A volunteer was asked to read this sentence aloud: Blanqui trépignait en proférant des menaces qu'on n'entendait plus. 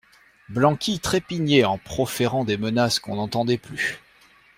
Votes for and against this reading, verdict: 2, 0, accepted